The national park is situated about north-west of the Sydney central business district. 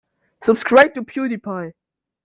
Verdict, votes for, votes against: rejected, 1, 2